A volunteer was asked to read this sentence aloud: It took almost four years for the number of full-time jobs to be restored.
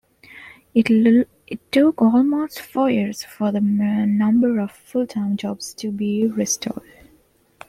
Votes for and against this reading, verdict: 2, 0, accepted